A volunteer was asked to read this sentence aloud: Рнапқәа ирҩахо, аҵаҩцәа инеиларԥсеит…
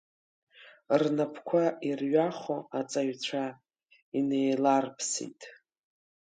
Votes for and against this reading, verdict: 2, 0, accepted